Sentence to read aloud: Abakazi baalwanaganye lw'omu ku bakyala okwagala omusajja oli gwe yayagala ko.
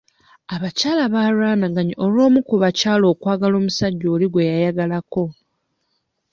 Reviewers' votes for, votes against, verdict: 1, 2, rejected